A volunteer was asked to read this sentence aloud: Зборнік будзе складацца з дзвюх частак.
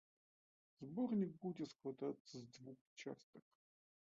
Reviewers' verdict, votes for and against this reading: accepted, 2, 0